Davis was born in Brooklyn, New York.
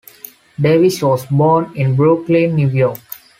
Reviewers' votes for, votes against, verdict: 2, 0, accepted